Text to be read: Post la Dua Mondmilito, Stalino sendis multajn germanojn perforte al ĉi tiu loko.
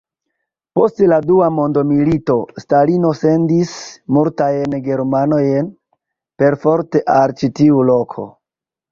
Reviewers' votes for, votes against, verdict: 0, 2, rejected